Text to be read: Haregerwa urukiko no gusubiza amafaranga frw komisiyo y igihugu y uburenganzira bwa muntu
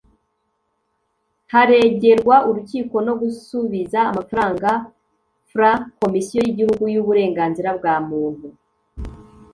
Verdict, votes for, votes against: accepted, 2, 0